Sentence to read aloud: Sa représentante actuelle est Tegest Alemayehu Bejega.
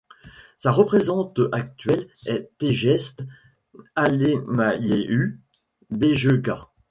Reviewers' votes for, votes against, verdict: 1, 2, rejected